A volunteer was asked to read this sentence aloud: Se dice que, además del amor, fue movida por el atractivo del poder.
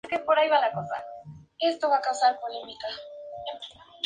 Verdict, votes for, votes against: rejected, 0, 2